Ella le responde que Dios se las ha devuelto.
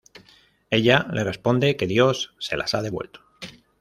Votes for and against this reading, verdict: 2, 0, accepted